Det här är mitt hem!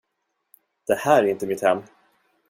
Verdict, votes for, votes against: rejected, 0, 2